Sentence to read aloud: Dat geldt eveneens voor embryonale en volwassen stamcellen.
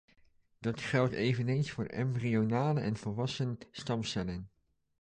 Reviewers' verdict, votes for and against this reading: accepted, 2, 0